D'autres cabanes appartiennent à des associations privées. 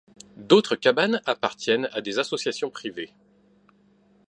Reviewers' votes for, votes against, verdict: 2, 0, accepted